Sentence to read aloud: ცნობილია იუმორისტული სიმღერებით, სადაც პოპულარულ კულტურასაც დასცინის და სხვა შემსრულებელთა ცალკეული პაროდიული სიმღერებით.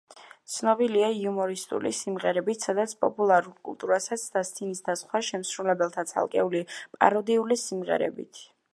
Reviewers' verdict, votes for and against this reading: accepted, 5, 1